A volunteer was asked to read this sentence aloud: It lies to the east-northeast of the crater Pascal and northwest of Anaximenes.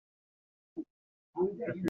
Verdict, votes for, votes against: rejected, 0, 2